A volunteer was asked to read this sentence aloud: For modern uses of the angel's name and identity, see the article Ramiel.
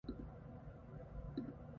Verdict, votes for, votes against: rejected, 0, 2